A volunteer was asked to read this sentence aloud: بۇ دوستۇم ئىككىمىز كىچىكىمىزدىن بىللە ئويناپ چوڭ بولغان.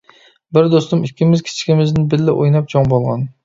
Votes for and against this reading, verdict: 1, 2, rejected